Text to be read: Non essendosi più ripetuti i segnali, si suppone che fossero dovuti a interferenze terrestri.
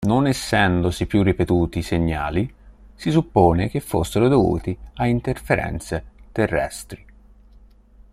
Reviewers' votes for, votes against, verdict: 3, 0, accepted